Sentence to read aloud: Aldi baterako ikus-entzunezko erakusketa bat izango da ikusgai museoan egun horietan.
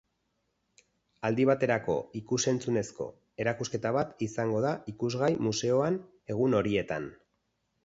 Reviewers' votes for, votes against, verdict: 6, 0, accepted